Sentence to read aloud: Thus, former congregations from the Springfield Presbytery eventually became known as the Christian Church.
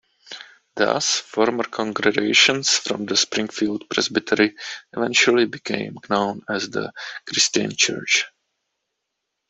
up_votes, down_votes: 2, 1